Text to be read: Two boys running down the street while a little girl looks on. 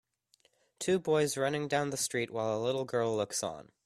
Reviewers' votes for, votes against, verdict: 2, 0, accepted